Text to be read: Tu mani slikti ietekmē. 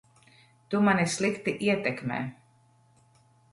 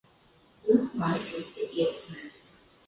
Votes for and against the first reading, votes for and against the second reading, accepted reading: 2, 0, 0, 2, first